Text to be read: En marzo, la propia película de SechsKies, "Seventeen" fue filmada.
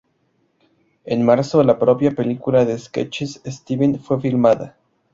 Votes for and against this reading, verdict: 2, 0, accepted